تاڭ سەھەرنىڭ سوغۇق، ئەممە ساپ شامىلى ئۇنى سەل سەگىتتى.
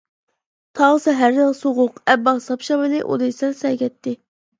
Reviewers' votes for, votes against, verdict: 0, 2, rejected